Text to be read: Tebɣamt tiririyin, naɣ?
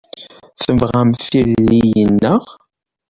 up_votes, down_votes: 2, 0